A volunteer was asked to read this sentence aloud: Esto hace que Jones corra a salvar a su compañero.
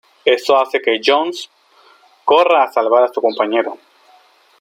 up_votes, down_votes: 0, 2